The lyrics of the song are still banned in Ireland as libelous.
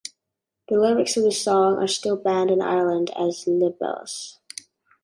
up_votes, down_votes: 2, 1